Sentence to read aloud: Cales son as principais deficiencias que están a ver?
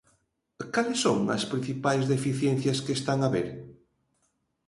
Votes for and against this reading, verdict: 2, 0, accepted